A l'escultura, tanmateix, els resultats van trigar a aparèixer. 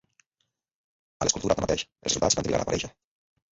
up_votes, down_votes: 1, 2